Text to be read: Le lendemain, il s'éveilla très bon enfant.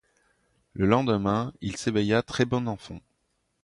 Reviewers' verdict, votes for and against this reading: accepted, 2, 0